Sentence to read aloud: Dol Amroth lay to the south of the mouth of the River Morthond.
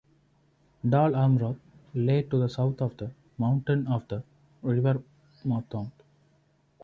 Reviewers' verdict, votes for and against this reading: rejected, 0, 2